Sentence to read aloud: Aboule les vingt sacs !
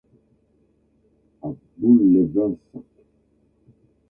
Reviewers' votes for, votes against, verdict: 1, 2, rejected